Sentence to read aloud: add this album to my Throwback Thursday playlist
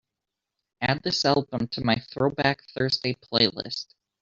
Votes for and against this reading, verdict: 1, 2, rejected